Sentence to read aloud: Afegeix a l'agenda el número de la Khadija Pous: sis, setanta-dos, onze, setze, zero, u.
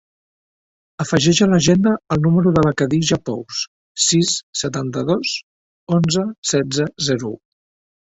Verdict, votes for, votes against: accepted, 3, 0